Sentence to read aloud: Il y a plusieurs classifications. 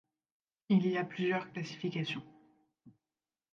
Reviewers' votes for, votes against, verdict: 2, 1, accepted